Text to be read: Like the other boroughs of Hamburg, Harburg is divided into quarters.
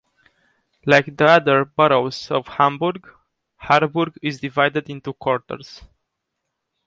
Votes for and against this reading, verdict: 2, 0, accepted